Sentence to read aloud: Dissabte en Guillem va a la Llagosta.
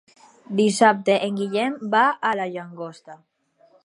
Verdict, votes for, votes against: rejected, 2, 4